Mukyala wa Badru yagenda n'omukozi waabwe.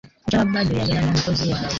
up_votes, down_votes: 0, 2